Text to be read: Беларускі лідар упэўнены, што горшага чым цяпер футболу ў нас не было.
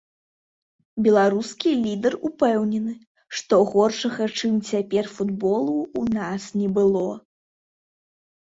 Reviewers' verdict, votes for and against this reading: rejected, 0, 2